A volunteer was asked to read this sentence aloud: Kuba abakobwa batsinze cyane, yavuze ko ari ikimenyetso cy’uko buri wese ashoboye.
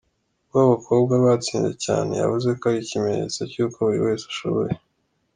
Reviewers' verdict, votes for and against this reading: accepted, 2, 1